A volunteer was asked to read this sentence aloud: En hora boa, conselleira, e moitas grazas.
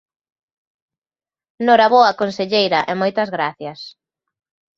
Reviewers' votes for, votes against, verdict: 1, 2, rejected